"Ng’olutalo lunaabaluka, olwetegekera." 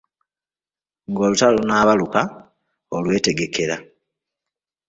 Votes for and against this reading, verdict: 2, 0, accepted